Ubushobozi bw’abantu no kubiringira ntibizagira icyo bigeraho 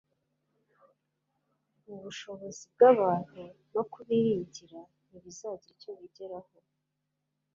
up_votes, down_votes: 2, 1